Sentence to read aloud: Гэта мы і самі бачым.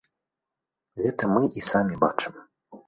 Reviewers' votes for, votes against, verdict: 2, 0, accepted